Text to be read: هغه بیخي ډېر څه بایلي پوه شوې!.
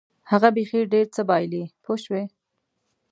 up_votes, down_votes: 2, 0